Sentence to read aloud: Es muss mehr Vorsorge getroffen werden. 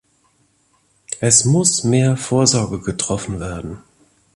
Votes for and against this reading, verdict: 2, 0, accepted